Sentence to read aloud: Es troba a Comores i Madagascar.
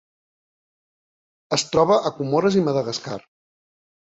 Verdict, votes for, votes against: accepted, 2, 0